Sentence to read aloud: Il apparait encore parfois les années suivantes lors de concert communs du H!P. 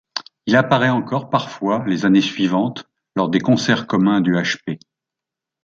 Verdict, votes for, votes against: rejected, 1, 2